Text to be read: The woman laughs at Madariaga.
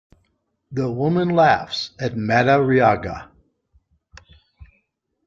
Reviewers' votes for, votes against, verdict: 2, 0, accepted